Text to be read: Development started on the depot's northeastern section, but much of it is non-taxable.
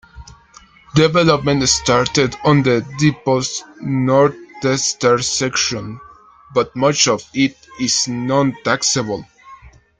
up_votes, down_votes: 1, 2